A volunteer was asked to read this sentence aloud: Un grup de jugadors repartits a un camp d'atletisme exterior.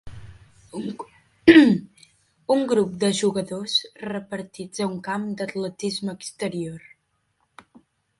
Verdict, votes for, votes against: accepted, 4, 3